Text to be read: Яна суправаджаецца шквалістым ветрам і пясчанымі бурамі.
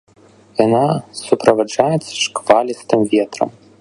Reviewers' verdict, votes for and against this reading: rejected, 1, 2